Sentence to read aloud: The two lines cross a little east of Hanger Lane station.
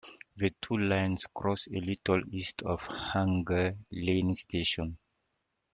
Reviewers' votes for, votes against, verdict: 2, 1, accepted